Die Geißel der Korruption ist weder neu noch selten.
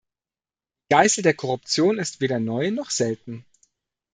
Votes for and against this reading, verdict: 0, 2, rejected